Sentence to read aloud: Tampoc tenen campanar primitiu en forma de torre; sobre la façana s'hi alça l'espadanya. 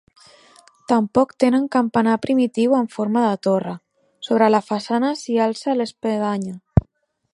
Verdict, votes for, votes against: rejected, 0, 2